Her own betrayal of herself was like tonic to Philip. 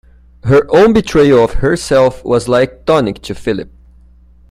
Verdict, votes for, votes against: accepted, 2, 0